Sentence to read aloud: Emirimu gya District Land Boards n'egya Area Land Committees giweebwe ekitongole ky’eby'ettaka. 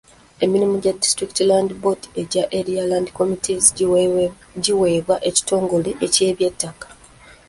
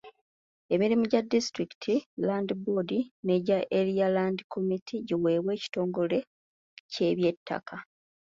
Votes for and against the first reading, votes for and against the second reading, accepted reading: 0, 2, 2, 1, second